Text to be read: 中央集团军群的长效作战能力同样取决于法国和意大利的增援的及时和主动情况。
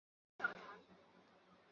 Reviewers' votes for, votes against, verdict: 2, 6, rejected